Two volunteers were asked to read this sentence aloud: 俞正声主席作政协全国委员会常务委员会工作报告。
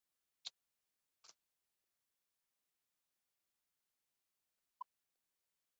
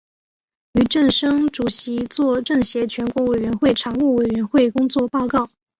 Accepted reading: second